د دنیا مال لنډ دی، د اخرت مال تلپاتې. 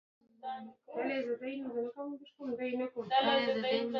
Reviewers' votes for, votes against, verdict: 1, 2, rejected